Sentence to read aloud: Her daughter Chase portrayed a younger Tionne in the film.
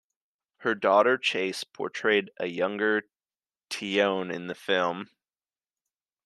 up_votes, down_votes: 2, 0